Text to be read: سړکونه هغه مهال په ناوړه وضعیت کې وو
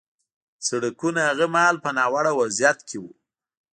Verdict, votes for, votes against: rejected, 1, 2